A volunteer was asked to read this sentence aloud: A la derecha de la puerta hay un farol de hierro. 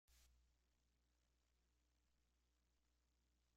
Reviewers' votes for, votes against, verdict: 0, 2, rejected